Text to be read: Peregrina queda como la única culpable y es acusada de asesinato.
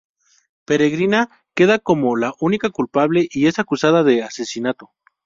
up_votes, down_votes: 6, 0